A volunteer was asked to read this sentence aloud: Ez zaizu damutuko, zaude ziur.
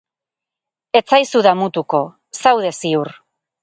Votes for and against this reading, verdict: 2, 2, rejected